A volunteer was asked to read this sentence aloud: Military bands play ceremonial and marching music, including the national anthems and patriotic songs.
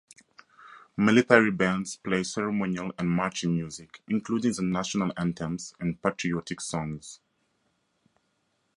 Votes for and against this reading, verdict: 2, 0, accepted